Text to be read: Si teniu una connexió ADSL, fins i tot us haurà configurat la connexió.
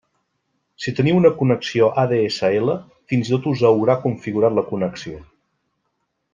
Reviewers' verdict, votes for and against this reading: accepted, 2, 0